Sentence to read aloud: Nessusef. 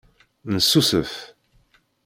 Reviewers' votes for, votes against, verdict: 2, 0, accepted